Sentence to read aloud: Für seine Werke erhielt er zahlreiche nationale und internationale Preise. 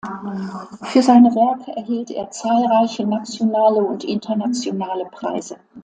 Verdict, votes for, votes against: accepted, 2, 0